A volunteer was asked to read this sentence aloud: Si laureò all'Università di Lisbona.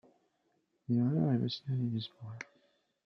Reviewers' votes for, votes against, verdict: 0, 2, rejected